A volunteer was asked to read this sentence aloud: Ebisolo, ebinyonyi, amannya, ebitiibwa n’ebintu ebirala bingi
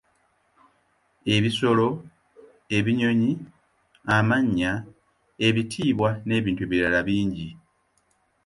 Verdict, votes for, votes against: accepted, 2, 0